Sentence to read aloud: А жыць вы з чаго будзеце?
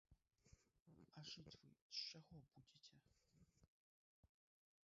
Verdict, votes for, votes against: rejected, 1, 2